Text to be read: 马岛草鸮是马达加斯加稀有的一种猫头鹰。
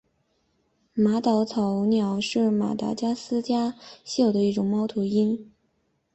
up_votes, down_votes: 1, 3